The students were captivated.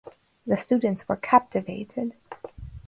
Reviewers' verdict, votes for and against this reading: accepted, 4, 2